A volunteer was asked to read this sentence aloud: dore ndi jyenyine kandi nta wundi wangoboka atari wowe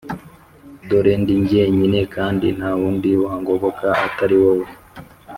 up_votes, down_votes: 4, 0